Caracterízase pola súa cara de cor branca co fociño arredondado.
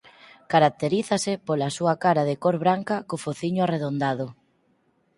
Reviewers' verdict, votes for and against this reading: accepted, 4, 0